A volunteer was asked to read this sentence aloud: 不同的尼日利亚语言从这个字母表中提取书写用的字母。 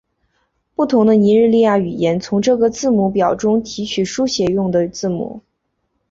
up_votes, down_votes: 2, 0